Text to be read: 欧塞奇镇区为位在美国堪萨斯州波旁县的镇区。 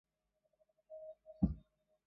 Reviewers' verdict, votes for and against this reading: rejected, 0, 2